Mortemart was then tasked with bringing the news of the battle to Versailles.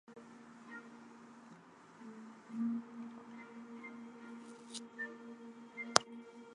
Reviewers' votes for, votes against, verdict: 0, 2, rejected